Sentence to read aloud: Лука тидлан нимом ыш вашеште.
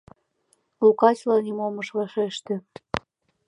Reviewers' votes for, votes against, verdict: 1, 2, rejected